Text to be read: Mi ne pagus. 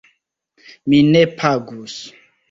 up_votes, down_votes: 2, 0